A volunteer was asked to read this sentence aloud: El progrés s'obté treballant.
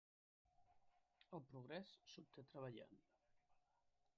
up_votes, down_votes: 1, 2